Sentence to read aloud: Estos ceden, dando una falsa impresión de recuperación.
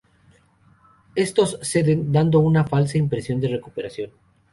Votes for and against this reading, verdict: 4, 0, accepted